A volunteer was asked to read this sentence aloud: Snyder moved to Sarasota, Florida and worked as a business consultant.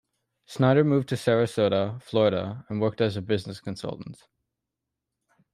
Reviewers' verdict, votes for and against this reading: accepted, 3, 0